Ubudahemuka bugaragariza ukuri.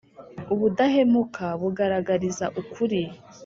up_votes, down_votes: 3, 0